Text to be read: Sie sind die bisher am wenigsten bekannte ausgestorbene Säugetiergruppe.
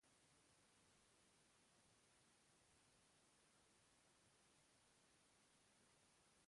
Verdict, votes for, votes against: rejected, 0, 2